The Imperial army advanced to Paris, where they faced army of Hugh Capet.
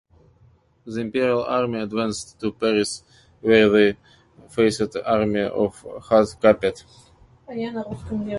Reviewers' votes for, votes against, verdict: 0, 2, rejected